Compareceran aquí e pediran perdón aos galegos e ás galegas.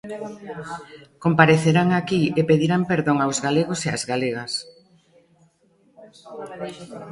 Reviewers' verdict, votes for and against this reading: rejected, 0, 2